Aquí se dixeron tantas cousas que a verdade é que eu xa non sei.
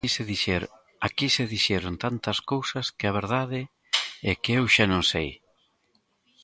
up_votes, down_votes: 0, 2